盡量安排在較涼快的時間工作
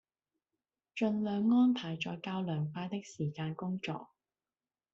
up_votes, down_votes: 2, 0